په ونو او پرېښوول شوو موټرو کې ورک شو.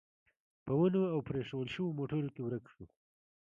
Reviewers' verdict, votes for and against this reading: accepted, 2, 0